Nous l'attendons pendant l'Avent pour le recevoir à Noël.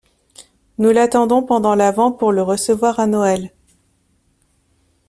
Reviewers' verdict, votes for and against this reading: accepted, 2, 0